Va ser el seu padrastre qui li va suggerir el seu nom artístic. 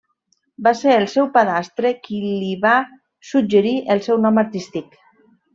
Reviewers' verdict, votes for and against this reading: rejected, 1, 2